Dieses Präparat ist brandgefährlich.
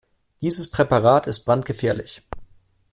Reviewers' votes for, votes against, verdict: 2, 0, accepted